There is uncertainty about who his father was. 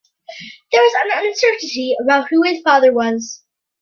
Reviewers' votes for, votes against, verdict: 2, 1, accepted